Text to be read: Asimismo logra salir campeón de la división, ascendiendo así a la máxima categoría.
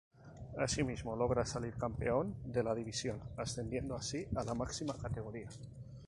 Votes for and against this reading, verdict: 2, 0, accepted